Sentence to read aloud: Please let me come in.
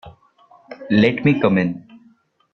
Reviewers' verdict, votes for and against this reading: rejected, 0, 3